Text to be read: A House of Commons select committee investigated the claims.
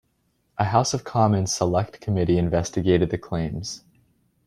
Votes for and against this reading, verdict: 2, 0, accepted